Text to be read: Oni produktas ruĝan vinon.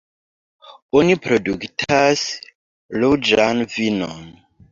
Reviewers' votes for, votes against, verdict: 1, 2, rejected